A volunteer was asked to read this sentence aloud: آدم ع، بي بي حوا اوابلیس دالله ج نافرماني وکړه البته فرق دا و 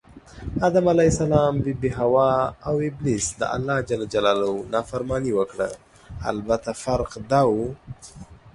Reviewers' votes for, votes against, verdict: 2, 0, accepted